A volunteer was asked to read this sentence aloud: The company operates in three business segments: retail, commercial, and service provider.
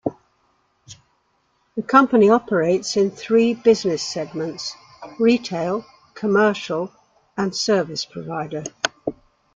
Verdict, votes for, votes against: accepted, 2, 0